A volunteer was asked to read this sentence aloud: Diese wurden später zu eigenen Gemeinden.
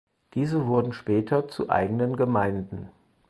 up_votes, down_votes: 4, 0